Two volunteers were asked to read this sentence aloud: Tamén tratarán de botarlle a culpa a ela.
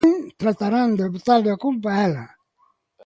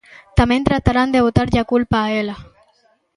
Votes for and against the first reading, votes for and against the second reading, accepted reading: 1, 2, 2, 0, second